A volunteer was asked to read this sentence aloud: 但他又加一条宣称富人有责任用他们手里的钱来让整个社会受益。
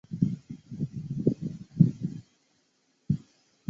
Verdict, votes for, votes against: rejected, 0, 2